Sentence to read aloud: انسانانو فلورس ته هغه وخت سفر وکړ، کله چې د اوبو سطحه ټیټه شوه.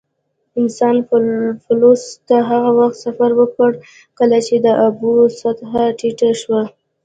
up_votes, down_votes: 1, 2